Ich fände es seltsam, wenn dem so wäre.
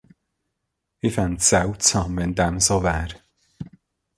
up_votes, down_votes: 2, 0